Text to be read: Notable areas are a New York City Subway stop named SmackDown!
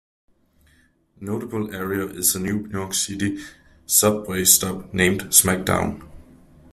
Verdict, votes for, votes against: rejected, 0, 2